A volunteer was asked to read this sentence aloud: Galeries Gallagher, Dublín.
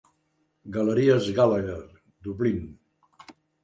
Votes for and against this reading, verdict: 2, 0, accepted